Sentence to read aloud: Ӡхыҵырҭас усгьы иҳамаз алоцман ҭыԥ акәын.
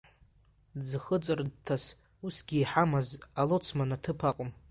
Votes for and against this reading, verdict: 2, 0, accepted